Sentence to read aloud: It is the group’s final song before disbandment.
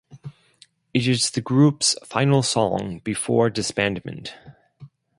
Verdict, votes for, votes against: accepted, 4, 0